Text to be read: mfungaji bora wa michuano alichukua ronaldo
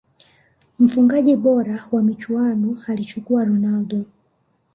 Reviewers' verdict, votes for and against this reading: accepted, 2, 0